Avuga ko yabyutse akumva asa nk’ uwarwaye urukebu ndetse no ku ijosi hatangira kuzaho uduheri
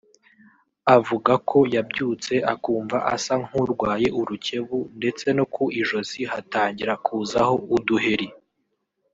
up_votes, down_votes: 2, 1